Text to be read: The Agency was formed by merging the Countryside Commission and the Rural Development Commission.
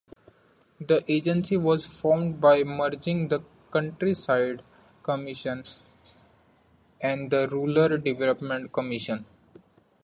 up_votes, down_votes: 0, 2